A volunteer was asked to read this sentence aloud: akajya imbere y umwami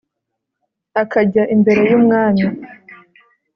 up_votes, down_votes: 2, 0